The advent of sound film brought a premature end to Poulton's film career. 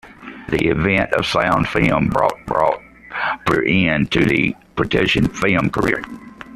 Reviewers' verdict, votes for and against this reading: rejected, 0, 2